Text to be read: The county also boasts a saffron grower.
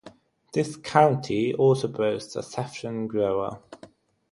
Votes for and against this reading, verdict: 0, 3, rejected